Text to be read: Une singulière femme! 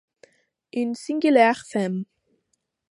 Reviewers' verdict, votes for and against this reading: rejected, 0, 2